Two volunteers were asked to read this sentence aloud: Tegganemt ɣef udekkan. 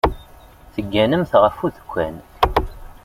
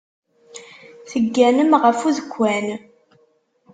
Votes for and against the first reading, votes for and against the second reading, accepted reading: 2, 0, 0, 2, first